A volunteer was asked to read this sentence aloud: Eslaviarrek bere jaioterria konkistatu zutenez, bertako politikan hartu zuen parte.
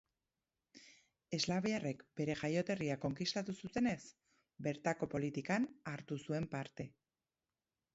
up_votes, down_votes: 4, 2